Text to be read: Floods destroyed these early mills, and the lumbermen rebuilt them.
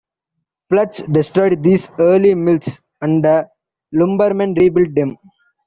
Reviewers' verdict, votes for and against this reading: accepted, 2, 0